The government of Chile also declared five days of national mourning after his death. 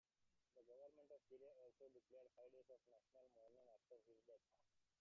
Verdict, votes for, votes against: rejected, 0, 2